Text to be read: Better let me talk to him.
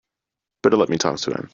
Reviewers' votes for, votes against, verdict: 2, 0, accepted